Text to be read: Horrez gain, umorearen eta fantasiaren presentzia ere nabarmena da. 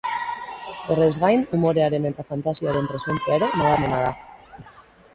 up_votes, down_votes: 3, 1